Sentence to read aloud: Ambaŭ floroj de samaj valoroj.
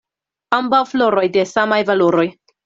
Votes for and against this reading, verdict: 2, 0, accepted